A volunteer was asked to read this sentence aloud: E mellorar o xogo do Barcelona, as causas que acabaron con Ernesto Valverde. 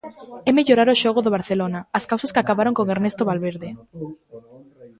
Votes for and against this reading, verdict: 1, 2, rejected